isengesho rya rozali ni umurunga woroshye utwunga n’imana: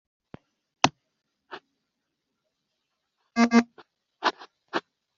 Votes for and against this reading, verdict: 1, 2, rejected